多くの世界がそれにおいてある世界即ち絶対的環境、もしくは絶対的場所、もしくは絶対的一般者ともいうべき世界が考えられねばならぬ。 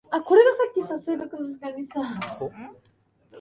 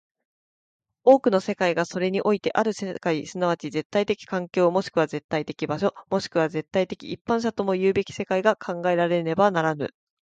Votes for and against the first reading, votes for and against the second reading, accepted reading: 0, 2, 4, 0, second